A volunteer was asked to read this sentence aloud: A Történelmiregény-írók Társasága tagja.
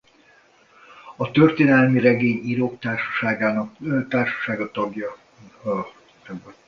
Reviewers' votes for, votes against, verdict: 0, 2, rejected